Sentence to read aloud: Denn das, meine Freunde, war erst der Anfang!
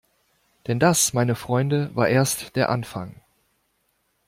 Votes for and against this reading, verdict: 2, 0, accepted